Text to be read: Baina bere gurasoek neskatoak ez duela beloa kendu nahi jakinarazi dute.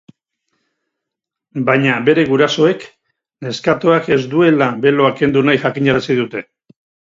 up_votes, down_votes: 4, 0